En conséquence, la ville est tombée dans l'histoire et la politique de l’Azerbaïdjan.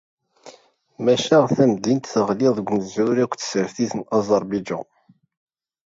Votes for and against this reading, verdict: 0, 2, rejected